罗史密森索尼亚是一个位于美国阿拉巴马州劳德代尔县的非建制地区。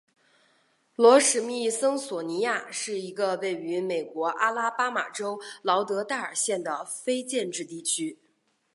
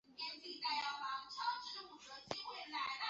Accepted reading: first